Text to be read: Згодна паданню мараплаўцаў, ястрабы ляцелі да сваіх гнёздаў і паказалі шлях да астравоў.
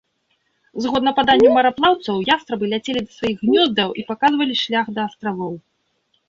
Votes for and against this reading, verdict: 0, 2, rejected